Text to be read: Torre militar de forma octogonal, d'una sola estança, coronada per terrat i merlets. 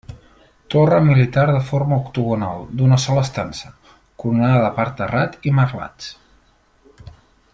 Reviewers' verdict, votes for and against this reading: rejected, 0, 4